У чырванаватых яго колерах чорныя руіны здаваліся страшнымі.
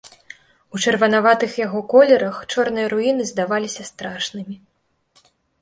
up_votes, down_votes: 2, 0